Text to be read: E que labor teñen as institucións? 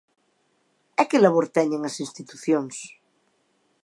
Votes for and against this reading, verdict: 2, 0, accepted